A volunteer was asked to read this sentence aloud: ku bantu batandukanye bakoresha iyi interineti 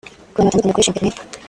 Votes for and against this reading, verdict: 0, 2, rejected